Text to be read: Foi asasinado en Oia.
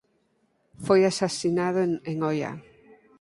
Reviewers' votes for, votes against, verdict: 0, 4, rejected